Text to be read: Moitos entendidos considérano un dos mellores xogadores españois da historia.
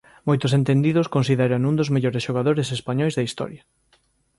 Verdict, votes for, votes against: accepted, 2, 0